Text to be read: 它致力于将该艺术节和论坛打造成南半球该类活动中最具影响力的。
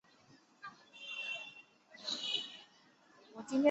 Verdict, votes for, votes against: rejected, 0, 2